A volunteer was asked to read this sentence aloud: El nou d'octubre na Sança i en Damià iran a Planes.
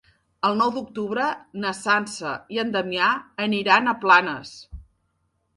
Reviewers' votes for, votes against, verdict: 0, 2, rejected